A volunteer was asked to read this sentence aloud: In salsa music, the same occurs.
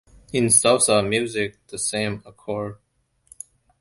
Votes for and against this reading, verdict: 1, 2, rejected